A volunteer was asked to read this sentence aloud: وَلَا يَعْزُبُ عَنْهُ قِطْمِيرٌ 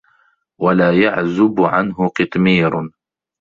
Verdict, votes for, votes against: accepted, 2, 0